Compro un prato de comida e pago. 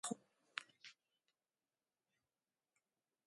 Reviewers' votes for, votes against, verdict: 0, 6, rejected